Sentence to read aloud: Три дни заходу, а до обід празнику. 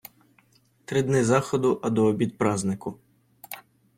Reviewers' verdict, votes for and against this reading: accepted, 2, 0